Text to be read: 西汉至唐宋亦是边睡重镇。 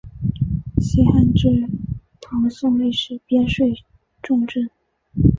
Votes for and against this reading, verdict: 2, 0, accepted